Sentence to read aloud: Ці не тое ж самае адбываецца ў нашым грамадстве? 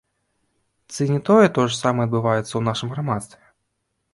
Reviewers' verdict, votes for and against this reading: rejected, 0, 2